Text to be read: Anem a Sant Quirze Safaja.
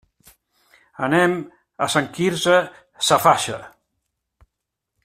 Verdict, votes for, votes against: accepted, 2, 0